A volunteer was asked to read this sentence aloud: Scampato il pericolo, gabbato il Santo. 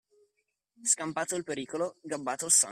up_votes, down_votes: 0, 2